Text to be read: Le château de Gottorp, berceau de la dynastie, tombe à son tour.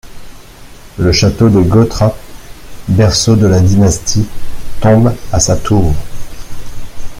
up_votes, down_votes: 0, 2